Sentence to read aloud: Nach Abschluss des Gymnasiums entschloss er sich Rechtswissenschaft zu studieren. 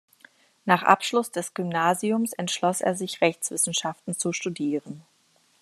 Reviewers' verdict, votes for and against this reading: rejected, 1, 2